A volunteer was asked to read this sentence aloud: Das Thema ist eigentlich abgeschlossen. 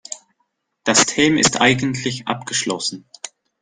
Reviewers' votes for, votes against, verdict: 0, 2, rejected